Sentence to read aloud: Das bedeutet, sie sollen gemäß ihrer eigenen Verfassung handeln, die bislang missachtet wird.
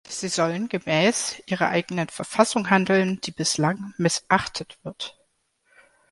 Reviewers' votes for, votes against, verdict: 0, 2, rejected